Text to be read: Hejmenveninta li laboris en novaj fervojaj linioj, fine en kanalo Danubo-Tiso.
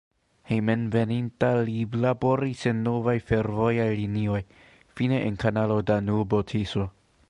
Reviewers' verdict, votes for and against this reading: rejected, 0, 2